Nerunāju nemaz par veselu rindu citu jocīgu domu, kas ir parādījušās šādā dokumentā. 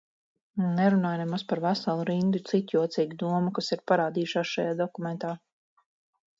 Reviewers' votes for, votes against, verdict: 2, 4, rejected